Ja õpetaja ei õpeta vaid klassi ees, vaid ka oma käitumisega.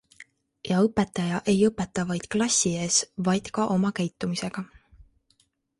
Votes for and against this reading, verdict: 2, 0, accepted